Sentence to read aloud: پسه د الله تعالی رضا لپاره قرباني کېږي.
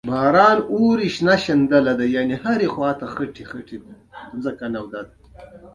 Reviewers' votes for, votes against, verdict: 0, 2, rejected